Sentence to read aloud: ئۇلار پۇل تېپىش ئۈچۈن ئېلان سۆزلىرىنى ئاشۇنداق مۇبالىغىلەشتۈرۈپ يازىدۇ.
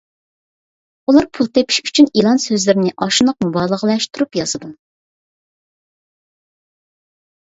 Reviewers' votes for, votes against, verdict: 2, 0, accepted